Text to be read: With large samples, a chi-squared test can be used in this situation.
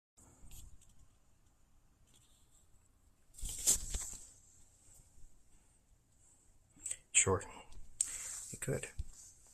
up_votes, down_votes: 0, 2